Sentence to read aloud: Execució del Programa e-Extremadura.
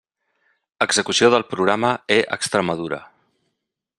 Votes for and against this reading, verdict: 2, 0, accepted